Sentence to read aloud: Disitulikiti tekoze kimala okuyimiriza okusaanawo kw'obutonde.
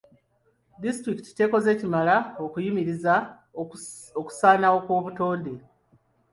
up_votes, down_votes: 2, 1